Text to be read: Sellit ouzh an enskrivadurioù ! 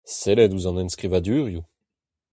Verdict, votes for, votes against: rejected, 0, 2